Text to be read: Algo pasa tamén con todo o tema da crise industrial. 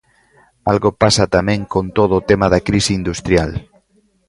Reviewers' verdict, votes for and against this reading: accepted, 2, 1